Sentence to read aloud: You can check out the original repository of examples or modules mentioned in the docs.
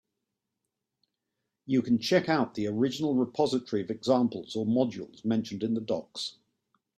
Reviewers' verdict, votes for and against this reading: accepted, 2, 0